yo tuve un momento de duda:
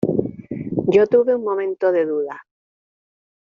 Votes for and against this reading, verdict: 1, 2, rejected